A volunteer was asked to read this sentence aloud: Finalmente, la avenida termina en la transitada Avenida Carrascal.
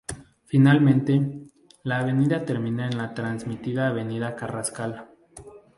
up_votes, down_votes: 0, 2